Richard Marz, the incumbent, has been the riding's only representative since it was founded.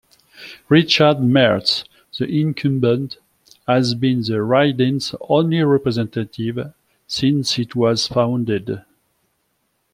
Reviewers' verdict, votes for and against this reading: accepted, 2, 0